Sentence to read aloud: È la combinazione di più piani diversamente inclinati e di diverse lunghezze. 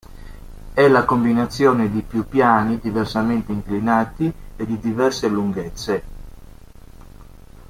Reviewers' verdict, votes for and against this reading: accepted, 2, 0